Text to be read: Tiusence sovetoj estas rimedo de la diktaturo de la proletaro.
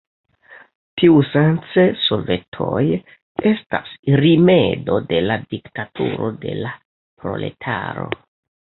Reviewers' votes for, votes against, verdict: 2, 1, accepted